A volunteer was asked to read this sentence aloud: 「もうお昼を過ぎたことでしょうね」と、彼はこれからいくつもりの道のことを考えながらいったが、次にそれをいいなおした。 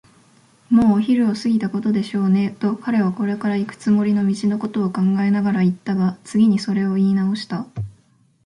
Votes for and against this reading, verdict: 2, 0, accepted